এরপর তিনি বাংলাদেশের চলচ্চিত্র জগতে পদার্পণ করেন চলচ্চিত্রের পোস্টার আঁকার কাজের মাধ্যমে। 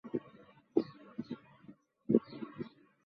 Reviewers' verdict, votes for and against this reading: rejected, 0, 5